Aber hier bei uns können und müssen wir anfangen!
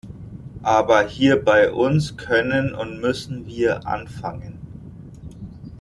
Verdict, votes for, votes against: accepted, 2, 0